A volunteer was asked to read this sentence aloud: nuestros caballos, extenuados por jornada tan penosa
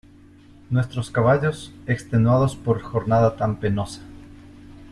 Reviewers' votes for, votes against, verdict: 2, 0, accepted